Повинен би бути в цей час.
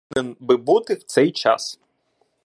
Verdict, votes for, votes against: rejected, 0, 2